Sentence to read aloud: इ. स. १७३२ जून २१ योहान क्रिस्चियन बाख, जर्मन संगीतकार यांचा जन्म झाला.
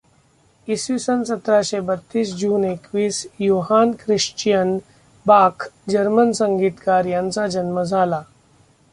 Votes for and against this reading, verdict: 0, 2, rejected